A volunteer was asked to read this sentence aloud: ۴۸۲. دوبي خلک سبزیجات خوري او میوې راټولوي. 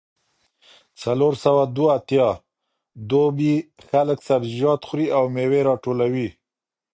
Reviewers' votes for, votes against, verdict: 0, 2, rejected